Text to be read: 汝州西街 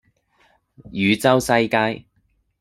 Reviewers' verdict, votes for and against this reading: accepted, 3, 0